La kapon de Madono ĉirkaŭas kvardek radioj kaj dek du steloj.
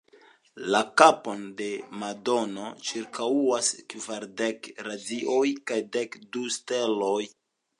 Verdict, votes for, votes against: accepted, 2, 0